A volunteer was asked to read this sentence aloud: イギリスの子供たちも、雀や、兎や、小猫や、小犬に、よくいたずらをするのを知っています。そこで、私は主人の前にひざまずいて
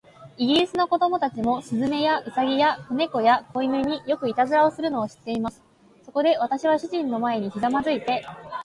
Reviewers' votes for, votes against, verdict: 2, 1, accepted